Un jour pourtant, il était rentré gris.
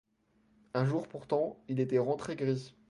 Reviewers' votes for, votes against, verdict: 2, 0, accepted